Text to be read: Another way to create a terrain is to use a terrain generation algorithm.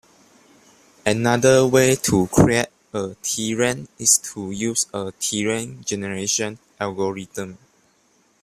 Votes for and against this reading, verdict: 0, 2, rejected